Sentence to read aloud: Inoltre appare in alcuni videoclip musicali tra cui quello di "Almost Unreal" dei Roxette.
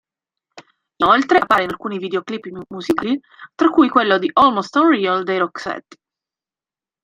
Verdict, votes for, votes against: rejected, 0, 2